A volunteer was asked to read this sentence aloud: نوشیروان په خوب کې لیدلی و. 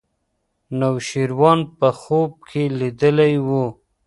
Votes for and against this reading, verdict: 2, 0, accepted